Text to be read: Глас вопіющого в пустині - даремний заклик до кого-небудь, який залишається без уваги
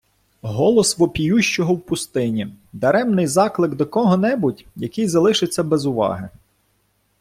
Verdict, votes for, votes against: rejected, 1, 3